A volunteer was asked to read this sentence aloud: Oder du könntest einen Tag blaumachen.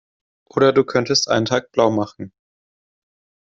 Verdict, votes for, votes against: accepted, 2, 0